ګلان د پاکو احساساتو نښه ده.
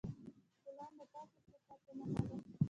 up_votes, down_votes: 2, 0